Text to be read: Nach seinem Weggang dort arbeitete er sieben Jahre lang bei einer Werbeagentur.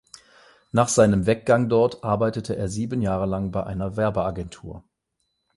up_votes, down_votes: 8, 0